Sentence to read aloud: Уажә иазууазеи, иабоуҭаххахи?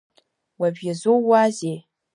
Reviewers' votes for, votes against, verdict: 0, 2, rejected